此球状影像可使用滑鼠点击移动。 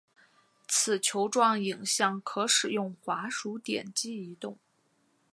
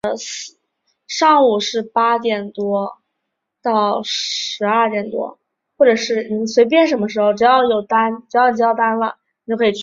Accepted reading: first